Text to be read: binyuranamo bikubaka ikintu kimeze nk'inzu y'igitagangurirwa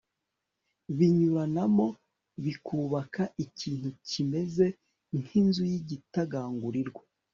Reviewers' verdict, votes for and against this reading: accepted, 2, 0